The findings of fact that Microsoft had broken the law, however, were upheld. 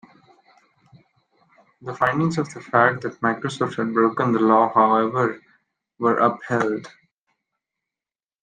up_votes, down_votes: 0, 2